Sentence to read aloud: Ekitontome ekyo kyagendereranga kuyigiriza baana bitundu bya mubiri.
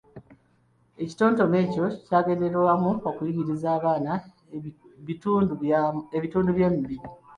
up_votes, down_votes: 1, 2